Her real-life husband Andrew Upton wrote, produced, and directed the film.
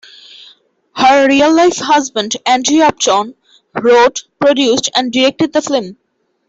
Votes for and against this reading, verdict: 2, 1, accepted